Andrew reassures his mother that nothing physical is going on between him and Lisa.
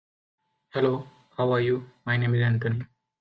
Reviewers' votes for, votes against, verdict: 1, 2, rejected